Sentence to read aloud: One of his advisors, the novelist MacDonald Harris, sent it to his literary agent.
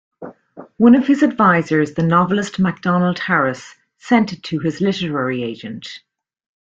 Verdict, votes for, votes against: accepted, 2, 0